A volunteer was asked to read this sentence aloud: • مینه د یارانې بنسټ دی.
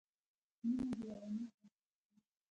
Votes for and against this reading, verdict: 0, 3, rejected